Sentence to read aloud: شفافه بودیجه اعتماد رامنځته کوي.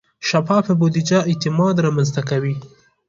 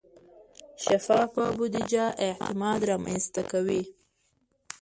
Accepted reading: first